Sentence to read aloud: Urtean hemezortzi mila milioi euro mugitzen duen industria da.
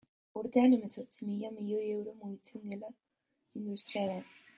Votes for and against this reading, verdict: 0, 2, rejected